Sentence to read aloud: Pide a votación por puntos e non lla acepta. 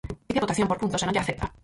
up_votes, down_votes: 0, 6